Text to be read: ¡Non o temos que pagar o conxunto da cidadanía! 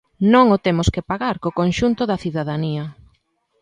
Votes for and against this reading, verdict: 2, 1, accepted